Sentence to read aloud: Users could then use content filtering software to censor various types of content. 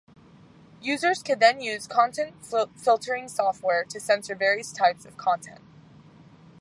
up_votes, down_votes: 2, 0